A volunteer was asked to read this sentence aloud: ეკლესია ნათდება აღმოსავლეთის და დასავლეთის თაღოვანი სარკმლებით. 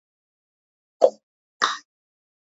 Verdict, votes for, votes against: rejected, 0, 2